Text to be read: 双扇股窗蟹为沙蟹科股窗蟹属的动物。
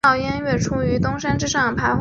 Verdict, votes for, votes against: rejected, 0, 2